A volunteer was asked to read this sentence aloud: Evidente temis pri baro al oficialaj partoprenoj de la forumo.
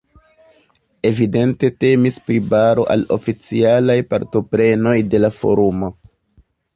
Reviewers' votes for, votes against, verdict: 2, 0, accepted